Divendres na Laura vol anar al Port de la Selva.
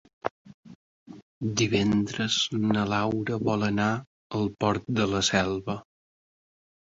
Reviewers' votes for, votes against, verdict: 0, 2, rejected